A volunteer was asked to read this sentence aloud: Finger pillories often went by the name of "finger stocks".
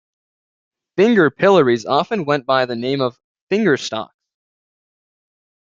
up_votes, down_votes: 1, 2